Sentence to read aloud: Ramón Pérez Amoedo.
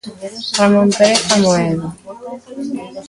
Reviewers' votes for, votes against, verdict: 2, 1, accepted